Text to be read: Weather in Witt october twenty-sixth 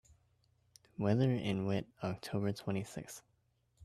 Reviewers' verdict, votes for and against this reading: accepted, 2, 0